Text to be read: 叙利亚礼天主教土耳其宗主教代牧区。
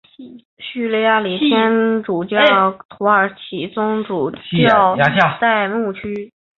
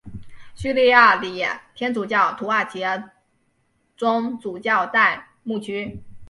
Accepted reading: second